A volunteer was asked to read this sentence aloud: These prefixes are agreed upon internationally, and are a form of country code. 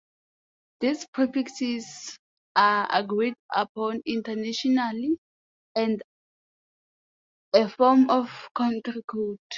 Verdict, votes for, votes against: rejected, 0, 2